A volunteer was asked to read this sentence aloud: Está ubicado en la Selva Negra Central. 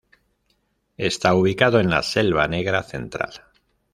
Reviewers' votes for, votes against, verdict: 2, 0, accepted